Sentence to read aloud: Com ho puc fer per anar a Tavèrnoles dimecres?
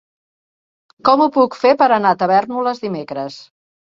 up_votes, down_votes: 2, 0